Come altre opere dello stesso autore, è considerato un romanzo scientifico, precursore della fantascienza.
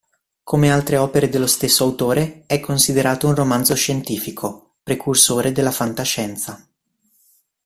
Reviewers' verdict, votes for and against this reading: accepted, 2, 0